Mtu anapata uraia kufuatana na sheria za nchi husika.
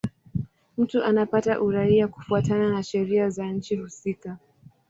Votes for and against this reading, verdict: 9, 2, accepted